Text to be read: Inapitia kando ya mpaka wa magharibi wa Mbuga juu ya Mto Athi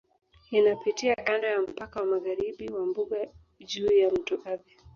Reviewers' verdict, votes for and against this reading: accepted, 2, 0